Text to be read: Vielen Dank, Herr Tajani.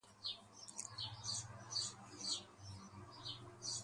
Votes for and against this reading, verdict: 0, 2, rejected